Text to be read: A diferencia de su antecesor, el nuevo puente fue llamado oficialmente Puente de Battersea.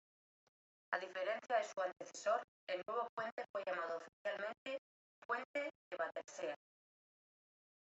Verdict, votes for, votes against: rejected, 1, 2